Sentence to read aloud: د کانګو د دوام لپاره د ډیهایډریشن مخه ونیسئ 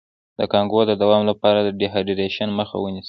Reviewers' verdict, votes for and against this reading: rejected, 1, 2